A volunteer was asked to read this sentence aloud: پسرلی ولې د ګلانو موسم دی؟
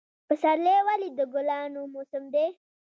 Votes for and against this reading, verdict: 1, 3, rejected